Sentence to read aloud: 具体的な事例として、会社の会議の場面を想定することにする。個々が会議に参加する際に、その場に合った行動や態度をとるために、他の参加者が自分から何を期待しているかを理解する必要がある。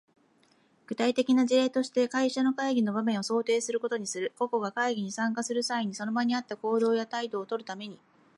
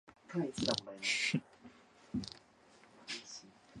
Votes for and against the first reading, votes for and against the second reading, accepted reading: 2, 0, 0, 2, first